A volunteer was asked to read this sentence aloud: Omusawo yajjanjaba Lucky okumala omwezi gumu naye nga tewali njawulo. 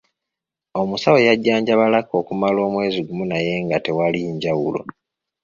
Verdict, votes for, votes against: accepted, 2, 0